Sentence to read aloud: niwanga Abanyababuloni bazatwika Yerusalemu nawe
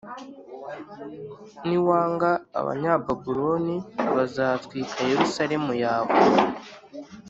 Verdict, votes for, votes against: rejected, 1, 2